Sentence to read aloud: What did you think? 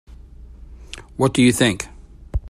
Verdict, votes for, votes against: rejected, 1, 2